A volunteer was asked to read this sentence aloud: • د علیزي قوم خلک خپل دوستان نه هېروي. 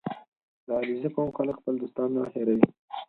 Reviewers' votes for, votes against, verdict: 4, 2, accepted